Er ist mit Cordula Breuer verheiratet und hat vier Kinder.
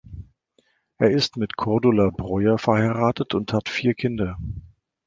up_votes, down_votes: 3, 0